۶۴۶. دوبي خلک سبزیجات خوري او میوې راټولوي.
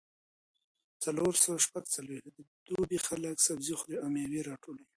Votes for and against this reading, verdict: 0, 2, rejected